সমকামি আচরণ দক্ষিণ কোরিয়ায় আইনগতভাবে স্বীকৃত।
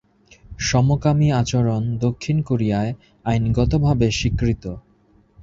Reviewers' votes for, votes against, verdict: 2, 0, accepted